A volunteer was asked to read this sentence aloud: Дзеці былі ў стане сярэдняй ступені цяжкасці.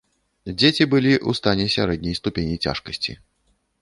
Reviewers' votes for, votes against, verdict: 1, 2, rejected